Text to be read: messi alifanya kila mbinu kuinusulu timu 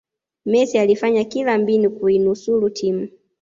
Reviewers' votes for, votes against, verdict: 2, 0, accepted